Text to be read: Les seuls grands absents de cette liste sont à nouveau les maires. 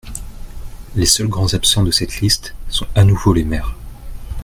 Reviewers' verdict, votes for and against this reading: accepted, 2, 0